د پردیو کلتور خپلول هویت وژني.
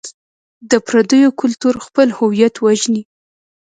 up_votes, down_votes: 0, 2